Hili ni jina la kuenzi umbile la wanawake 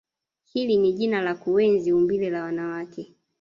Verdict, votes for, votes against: rejected, 0, 2